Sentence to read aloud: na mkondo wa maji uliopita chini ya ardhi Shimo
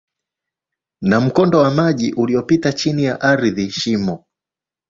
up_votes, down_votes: 2, 2